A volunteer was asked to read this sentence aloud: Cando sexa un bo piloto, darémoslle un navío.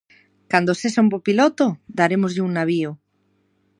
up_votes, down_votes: 2, 0